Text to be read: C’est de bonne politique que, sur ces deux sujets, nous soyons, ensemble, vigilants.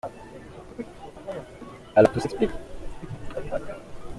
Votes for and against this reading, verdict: 0, 2, rejected